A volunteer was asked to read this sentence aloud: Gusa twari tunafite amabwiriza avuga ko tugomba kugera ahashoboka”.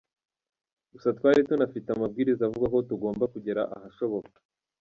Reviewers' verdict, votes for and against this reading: rejected, 0, 2